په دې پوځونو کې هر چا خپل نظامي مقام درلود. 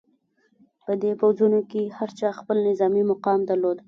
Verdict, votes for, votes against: rejected, 1, 2